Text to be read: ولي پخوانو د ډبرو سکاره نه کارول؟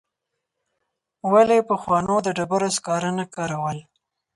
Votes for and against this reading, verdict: 4, 0, accepted